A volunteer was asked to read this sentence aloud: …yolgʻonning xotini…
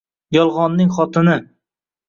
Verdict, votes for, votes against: rejected, 1, 2